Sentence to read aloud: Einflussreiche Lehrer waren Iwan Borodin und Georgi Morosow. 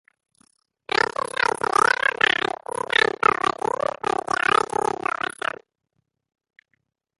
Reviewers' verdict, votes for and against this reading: rejected, 0, 4